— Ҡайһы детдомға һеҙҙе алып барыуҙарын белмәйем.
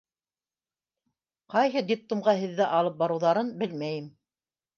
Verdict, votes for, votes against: accepted, 2, 0